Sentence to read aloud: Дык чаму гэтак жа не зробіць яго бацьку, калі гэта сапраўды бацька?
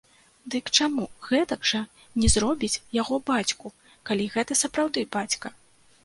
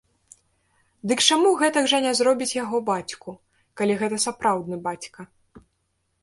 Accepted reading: first